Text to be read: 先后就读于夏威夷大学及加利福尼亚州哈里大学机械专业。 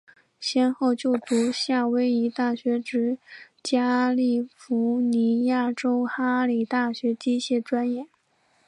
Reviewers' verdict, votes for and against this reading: rejected, 1, 2